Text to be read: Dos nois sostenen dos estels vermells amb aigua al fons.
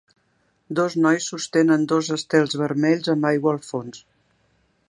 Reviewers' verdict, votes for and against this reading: accepted, 3, 0